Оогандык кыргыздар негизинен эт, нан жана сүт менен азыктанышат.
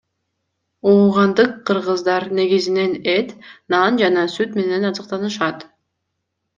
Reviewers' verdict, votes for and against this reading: accepted, 2, 0